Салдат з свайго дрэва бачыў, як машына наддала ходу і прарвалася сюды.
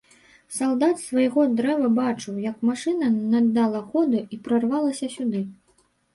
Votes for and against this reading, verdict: 1, 2, rejected